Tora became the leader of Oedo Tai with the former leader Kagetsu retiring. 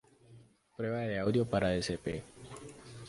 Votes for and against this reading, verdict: 0, 2, rejected